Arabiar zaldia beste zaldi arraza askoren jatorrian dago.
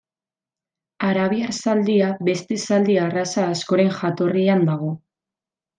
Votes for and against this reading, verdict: 2, 0, accepted